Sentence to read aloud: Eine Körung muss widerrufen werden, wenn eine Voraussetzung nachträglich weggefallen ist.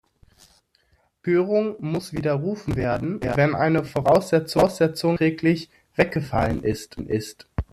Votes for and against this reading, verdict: 0, 2, rejected